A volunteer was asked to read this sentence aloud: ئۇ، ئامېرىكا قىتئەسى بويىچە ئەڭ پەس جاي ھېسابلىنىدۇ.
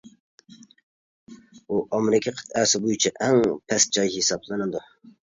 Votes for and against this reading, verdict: 2, 0, accepted